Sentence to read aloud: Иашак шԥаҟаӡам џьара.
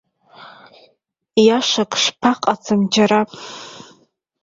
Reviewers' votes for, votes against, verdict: 1, 2, rejected